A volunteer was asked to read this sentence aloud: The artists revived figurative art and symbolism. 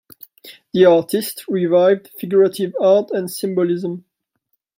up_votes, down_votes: 2, 0